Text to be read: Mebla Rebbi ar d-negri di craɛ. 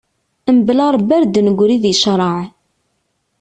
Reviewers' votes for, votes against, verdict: 2, 0, accepted